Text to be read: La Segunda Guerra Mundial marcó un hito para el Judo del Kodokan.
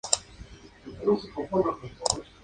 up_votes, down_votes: 0, 4